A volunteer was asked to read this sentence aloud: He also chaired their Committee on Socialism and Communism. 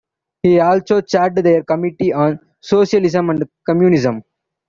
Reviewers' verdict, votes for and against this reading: accepted, 2, 0